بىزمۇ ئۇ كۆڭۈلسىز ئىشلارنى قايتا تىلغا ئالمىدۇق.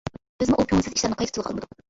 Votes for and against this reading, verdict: 0, 2, rejected